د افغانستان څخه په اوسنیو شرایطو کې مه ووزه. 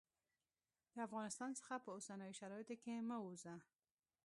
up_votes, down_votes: 1, 2